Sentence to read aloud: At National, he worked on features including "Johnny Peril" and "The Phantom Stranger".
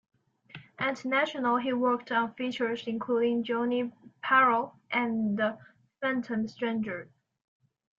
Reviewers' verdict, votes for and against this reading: accepted, 2, 0